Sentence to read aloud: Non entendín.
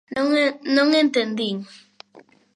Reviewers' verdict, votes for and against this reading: rejected, 1, 2